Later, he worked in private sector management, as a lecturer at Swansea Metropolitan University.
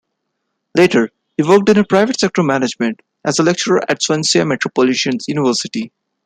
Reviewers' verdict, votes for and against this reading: rejected, 0, 2